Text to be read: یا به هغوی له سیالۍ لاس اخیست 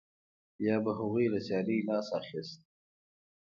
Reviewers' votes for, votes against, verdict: 1, 2, rejected